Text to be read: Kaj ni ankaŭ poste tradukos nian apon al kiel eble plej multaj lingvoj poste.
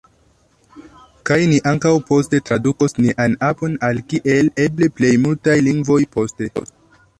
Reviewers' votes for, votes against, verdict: 2, 1, accepted